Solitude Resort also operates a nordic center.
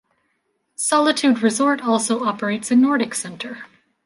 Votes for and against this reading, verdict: 2, 0, accepted